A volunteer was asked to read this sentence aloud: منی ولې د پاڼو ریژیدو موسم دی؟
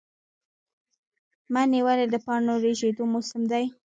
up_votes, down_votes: 2, 1